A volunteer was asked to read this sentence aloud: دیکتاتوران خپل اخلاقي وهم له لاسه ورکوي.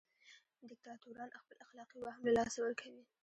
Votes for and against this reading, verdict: 0, 2, rejected